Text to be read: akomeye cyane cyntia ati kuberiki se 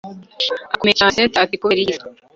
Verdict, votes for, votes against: rejected, 1, 2